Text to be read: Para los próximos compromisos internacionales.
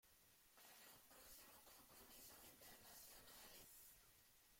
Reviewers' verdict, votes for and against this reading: rejected, 0, 2